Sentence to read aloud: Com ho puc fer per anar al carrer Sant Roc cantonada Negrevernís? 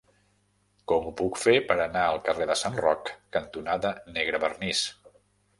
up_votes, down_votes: 1, 2